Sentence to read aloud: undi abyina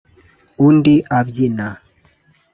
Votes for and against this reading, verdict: 2, 0, accepted